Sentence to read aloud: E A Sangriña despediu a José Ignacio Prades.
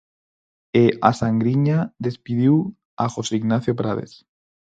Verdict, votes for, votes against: rejected, 2, 4